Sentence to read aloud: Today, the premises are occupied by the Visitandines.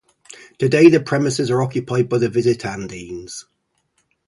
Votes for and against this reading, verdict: 2, 0, accepted